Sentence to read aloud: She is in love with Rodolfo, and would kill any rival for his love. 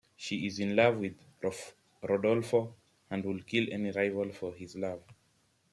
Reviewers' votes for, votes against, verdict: 2, 0, accepted